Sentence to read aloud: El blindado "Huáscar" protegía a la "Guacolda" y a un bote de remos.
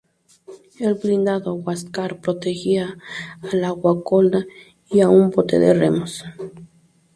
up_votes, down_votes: 2, 0